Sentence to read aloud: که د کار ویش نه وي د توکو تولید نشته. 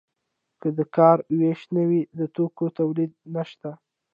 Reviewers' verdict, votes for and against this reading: accepted, 2, 1